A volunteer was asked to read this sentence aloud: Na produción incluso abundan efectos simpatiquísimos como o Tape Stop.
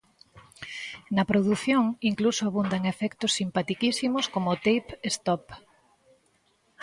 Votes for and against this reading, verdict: 2, 0, accepted